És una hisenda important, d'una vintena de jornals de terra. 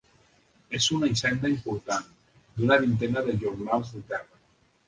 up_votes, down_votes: 2, 1